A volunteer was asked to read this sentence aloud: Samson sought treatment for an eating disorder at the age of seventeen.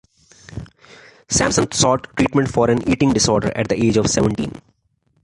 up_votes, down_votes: 2, 0